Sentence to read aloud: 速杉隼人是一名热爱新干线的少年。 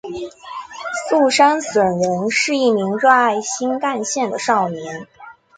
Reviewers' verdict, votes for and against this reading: accepted, 3, 2